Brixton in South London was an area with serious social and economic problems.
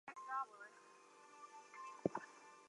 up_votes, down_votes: 0, 2